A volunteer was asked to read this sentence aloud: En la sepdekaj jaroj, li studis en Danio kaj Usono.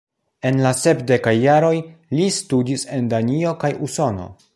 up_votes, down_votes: 2, 0